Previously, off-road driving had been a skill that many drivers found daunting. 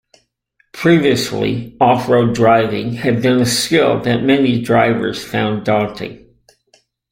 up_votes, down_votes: 2, 0